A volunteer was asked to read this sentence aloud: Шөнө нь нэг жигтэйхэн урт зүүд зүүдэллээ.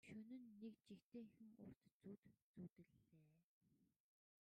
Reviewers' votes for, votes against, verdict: 1, 3, rejected